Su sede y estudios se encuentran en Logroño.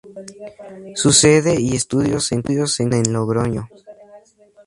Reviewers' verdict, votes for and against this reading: rejected, 2, 10